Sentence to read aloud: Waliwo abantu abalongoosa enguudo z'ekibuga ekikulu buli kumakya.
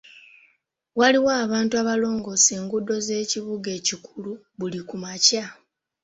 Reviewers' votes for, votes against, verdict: 2, 0, accepted